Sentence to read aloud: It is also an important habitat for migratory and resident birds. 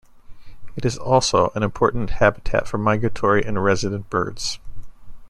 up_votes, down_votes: 2, 0